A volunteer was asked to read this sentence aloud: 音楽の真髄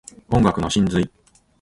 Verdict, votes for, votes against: rejected, 3, 3